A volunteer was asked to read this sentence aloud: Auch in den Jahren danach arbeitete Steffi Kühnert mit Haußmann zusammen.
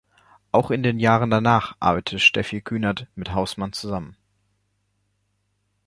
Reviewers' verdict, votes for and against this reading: accepted, 2, 1